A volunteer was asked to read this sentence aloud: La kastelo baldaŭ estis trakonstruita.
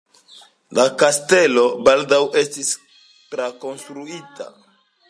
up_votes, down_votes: 2, 0